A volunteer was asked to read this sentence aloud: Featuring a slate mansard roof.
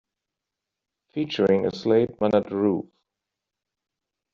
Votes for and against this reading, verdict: 0, 2, rejected